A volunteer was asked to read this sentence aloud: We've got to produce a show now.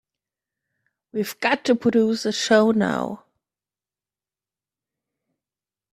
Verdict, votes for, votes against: accepted, 2, 0